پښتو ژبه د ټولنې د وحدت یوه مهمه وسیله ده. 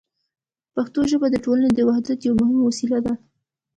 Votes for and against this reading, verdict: 1, 2, rejected